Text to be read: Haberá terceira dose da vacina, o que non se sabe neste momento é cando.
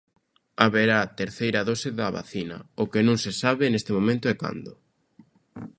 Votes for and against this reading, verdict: 2, 0, accepted